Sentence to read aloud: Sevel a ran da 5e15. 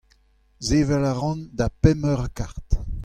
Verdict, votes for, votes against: rejected, 0, 2